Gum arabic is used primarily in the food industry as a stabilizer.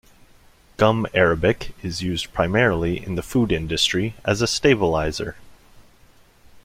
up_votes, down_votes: 2, 0